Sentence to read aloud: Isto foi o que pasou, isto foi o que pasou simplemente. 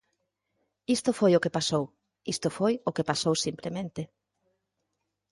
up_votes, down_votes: 4, 0